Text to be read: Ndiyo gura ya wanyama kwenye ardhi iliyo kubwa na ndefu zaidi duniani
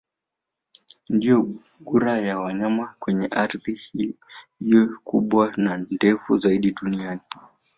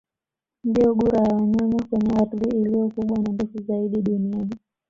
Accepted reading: second